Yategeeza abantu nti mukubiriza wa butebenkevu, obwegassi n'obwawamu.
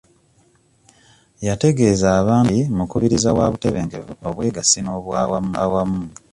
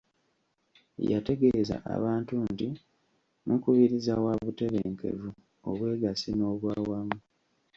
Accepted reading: second